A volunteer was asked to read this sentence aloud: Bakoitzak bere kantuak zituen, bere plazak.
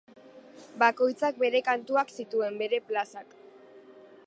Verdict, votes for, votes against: accepted, 2, 0